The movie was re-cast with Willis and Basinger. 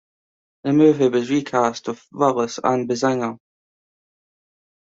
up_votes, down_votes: 2, 0